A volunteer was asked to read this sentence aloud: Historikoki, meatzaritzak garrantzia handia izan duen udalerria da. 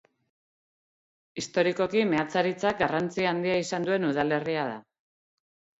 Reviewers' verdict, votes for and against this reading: accepted, 4, 0